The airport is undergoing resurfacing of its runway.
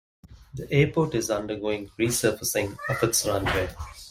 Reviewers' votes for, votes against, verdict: 2, 0, accepted